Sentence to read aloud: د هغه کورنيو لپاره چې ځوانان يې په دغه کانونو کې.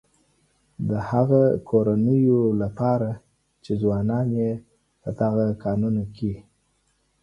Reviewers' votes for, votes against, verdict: 2, 0, accepted